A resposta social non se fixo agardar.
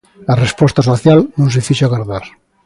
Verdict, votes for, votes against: accepted, 2, 0